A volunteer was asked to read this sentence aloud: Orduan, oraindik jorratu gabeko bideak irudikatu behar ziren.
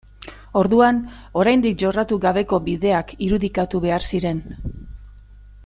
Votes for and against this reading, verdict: 3, 0, accepted